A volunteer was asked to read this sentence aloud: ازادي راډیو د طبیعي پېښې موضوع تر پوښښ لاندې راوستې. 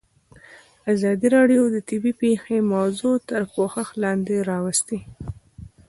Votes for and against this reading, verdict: 2, 3, rejected